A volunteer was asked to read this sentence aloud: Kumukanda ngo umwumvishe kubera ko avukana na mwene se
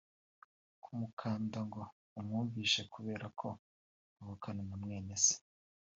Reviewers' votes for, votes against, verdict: 0, 2, rejected